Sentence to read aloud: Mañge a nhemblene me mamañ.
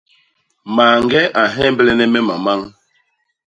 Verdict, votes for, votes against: accepted, 2, 0